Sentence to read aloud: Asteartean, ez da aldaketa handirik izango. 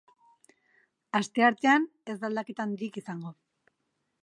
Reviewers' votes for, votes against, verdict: 4, 0, accepted